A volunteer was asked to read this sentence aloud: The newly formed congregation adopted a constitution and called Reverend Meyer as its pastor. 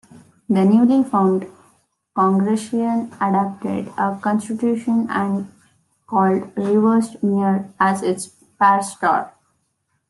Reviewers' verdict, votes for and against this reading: rejected, 0, 2